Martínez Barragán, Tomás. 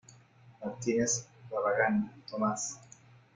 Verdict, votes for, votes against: accepted, 2, 0